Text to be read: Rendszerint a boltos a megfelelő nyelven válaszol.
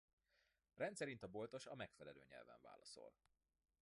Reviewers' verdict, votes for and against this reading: rejected, 1, 2